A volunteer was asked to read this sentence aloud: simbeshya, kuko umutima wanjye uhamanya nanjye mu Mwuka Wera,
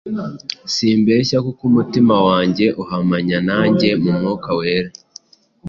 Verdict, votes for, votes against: accepted, 2, 0